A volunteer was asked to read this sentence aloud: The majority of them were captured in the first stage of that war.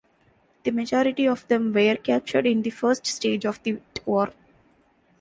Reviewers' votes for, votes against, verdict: 0, 2, rejected